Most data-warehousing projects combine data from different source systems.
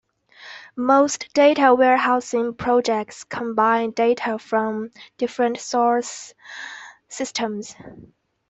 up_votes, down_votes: 2, 0